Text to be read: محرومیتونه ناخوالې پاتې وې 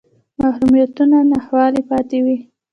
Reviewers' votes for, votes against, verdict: 0, 2, rejected